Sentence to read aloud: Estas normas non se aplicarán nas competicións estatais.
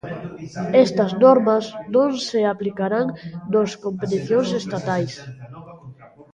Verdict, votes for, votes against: rejected, 1, 2